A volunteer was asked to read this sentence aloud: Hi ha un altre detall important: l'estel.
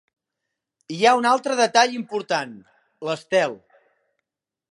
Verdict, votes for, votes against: accepted, 2, 0